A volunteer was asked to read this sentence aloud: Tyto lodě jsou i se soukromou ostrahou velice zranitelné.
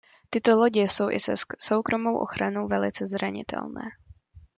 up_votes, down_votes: 0, 2